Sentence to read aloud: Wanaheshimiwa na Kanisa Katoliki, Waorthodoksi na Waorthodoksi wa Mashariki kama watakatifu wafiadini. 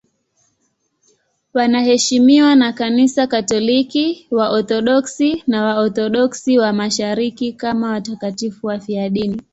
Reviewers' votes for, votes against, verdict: 2, 0, accepted